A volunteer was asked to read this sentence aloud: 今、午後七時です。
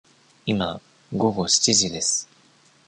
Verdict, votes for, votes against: accepted, 2, 1